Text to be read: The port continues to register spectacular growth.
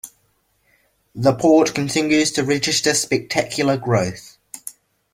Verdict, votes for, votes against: accepted, 2, 0